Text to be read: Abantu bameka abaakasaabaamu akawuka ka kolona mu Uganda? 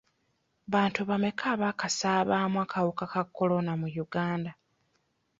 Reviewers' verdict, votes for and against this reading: rejected, 1, 2